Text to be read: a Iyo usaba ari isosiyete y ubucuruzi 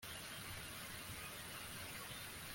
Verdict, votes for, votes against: rejected, 0, 2